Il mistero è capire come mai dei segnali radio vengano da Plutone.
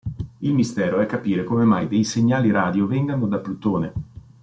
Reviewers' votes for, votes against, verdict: 2, 0, accepted